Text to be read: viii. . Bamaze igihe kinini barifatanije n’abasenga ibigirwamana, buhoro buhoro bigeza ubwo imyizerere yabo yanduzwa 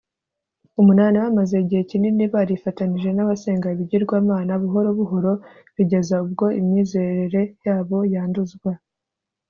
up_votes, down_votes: 2, 0